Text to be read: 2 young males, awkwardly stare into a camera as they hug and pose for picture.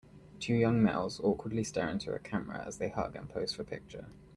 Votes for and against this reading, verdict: 0, 2, rejected